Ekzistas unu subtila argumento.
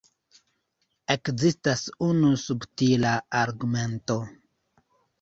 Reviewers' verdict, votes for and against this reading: rejected, 0, 2